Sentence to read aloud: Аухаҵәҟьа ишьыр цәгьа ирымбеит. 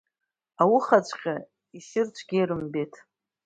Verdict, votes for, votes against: accepted, 2, 0